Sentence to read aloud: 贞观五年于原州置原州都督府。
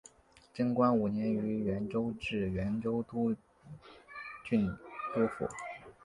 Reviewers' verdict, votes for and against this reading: rejected, 0, 2